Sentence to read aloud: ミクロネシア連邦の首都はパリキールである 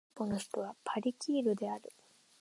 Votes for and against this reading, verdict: 1, 2, rejected